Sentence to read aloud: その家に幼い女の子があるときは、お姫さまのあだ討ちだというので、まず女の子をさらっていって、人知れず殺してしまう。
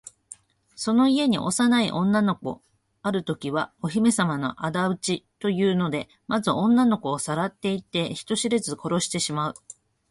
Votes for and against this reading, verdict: 2, 0, accepted